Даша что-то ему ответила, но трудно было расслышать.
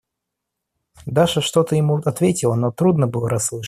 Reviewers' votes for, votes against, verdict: 0, 2, rejected